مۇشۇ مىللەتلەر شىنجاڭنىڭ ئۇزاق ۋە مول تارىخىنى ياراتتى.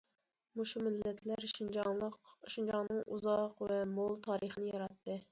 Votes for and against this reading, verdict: 1, 2, rejected